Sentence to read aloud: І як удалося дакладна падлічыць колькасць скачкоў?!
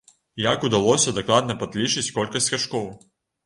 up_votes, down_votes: 2, 3